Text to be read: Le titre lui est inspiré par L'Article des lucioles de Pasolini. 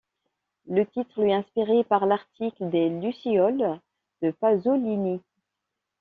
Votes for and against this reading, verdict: 2, 0, accepted